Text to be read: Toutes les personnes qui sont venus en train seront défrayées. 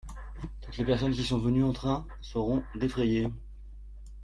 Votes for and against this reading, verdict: 2, 0, accepted